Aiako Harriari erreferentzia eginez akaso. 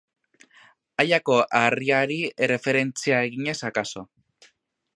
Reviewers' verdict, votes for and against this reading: accepted, 2, 0